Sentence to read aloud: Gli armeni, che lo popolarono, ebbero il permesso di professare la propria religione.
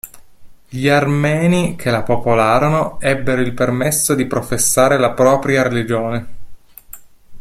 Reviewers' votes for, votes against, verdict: 1, 2, rejected